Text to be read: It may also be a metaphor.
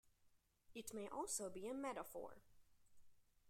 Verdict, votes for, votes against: accepted, 2, 1